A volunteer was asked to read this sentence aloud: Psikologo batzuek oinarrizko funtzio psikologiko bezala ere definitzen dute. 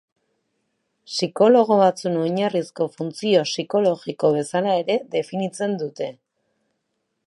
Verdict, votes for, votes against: rejected, 1, 2